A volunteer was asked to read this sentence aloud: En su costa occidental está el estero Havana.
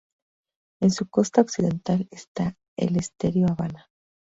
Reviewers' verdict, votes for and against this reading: accepted, 2, 0